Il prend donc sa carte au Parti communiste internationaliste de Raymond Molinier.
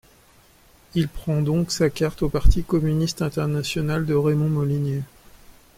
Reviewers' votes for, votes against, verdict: 0, 2, rejected